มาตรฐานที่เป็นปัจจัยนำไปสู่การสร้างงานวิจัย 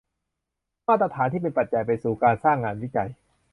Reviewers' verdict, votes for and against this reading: rejected, 0, 2